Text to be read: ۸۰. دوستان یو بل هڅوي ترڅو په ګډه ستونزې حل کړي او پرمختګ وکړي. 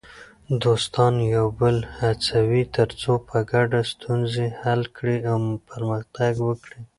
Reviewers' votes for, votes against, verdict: 0, 2, rejected